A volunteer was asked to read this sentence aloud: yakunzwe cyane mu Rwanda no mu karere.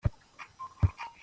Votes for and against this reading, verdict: 0, 2, rejected